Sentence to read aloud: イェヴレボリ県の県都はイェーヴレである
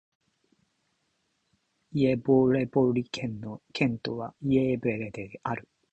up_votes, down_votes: 0, 2